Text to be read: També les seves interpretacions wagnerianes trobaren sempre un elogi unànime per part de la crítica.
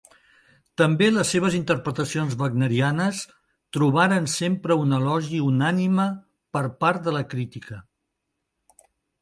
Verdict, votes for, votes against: accepted, 2, 0